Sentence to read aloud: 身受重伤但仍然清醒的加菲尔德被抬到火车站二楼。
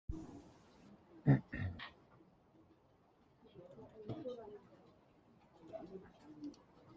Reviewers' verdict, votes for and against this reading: rejected, 0, 2